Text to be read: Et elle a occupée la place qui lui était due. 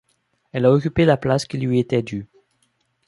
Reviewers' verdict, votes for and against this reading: rejected, 0, 2